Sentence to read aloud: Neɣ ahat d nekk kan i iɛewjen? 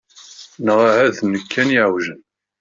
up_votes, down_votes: 1, 2